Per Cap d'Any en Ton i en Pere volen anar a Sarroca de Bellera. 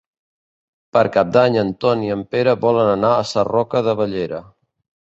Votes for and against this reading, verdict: 2, 1, accepted